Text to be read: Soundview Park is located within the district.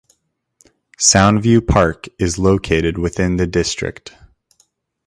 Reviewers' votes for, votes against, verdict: 2, 0, accepted